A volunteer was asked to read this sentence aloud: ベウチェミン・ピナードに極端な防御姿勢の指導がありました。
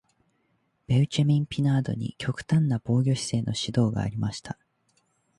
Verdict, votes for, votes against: accepted, 2, 0